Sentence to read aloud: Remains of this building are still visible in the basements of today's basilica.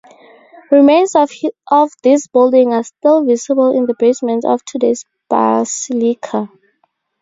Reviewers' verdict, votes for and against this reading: rejected, 0, 4